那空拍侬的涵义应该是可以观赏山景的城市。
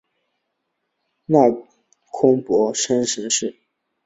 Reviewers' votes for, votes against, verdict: 0, 2, rejected